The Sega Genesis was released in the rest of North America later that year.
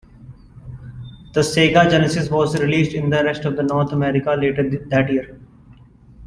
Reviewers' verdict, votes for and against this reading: rejected, 1, 2